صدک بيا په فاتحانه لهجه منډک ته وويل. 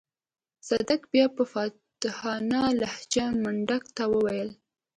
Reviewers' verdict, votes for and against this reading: rejected, 1, 2